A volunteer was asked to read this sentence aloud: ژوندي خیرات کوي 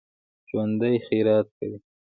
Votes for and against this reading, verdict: 2, 1, accepted